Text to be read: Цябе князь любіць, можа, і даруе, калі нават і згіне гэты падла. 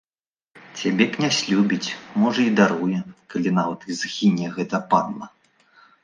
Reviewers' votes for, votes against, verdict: 2, 0, accepted